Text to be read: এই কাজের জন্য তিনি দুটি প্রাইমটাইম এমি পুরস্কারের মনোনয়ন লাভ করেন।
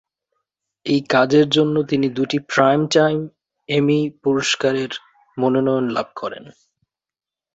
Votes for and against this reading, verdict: 2, 0, accepted